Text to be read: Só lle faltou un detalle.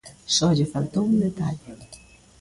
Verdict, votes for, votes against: rejected, 1, 2